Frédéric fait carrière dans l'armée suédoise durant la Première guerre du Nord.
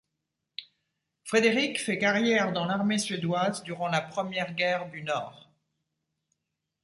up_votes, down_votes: 2, 0